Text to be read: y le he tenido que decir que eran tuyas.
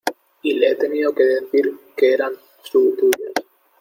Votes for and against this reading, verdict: 0, 2, rejected